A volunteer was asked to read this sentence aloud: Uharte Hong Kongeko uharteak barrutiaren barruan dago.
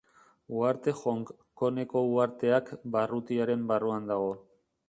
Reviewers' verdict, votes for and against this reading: rejected, 0, 2